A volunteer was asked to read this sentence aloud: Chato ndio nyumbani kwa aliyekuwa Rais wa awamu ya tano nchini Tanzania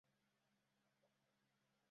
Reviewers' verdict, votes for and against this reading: rejected, 0, 2